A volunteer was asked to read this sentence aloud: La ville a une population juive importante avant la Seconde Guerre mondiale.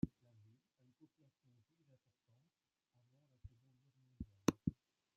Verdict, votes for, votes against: rejected, 1, 2